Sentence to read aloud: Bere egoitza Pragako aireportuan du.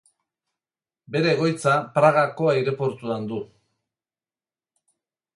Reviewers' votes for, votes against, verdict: 0, 4, rejected